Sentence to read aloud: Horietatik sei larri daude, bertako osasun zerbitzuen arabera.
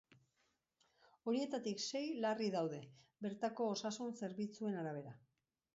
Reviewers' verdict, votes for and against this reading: rejected, 0, 2